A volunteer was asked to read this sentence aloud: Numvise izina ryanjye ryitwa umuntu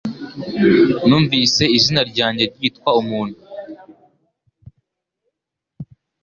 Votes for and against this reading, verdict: 2, 0, accepted